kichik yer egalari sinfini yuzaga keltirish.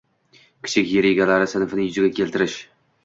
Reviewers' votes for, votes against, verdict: 2, 1, accepted